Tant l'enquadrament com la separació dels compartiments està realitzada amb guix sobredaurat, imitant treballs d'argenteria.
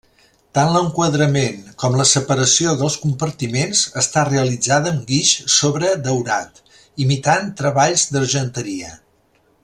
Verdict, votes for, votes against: accepted, 2, 0